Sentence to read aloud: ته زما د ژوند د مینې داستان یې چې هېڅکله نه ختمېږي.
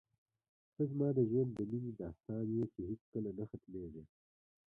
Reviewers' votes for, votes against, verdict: 0, 2, rejected